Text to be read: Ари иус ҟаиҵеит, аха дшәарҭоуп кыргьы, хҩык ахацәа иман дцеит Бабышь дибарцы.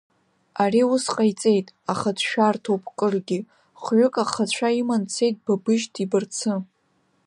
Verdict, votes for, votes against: rejected, 0, 2